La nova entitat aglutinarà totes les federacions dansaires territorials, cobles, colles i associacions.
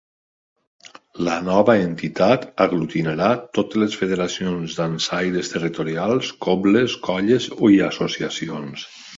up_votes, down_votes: 0, 2